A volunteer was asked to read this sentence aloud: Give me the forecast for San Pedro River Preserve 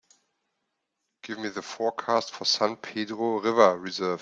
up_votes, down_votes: 1, 2